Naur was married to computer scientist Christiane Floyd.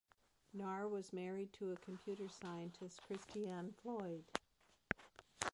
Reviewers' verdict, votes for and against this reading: rejected, 1, 2